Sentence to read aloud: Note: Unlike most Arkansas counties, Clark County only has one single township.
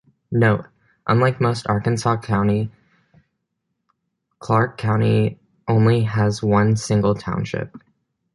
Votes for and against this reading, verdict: 0, 2, rejected